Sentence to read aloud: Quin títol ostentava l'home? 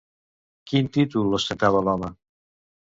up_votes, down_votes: 1, 2